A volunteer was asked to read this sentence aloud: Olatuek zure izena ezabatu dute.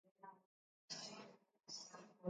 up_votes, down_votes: 0, 2